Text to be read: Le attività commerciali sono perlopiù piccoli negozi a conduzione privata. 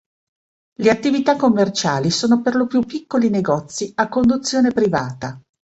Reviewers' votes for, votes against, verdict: 2, 0, accepted